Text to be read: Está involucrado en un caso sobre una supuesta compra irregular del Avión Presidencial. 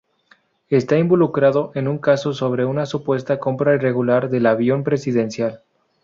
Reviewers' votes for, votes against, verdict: 2, 0, accepted